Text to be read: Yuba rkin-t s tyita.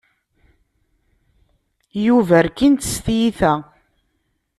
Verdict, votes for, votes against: accepted, 2, 0